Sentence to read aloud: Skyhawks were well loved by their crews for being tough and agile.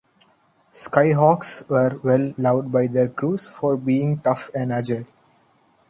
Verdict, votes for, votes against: rejected, 1, 2